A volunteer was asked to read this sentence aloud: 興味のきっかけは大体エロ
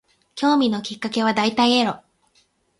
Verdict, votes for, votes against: accepted, 8, 0